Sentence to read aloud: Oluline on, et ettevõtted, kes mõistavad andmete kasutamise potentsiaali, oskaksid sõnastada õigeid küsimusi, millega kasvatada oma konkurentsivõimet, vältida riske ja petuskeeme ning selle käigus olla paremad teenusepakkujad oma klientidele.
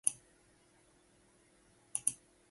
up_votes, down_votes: 0, 5